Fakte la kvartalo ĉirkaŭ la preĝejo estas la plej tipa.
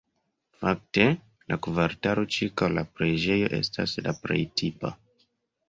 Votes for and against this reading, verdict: 2, 0, accepted